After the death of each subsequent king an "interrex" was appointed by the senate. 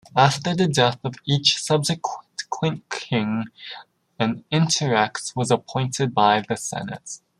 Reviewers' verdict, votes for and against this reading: rejected, 1, 2